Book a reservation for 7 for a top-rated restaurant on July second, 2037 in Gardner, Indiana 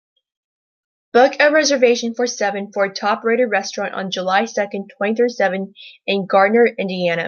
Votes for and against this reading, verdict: 0, 2, rejected